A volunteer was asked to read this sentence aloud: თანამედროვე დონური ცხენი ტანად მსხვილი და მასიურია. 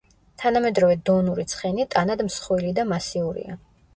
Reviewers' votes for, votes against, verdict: 0, 2, rejected